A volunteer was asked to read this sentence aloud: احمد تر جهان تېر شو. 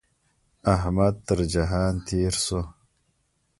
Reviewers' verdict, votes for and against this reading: accepted, 2, 0